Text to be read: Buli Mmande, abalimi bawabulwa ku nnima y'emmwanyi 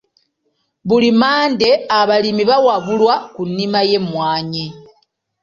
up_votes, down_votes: 2, 1